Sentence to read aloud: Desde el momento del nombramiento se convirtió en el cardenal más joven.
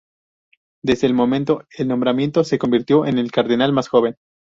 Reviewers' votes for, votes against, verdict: 0, 2, rejected